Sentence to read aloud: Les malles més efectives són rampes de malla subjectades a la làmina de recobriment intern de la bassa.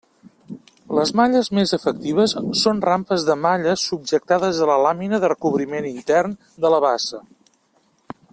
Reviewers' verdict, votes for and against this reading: accepted, 2, 0